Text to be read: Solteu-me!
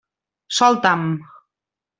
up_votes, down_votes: 0, 2